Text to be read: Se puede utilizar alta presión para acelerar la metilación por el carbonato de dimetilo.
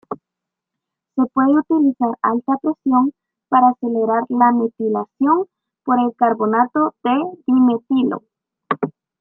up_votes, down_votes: 0, 2